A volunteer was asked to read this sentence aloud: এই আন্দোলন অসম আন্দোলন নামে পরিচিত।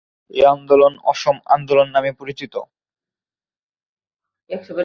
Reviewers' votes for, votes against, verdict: 0, 2, rejected